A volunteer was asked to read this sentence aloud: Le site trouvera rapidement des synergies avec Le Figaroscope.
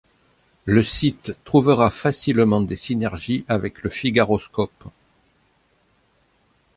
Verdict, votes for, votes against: rejected, 0, 2